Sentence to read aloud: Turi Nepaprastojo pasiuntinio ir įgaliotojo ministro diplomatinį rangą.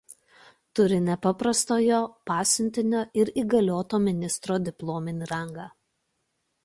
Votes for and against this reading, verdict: 0, 2, rejected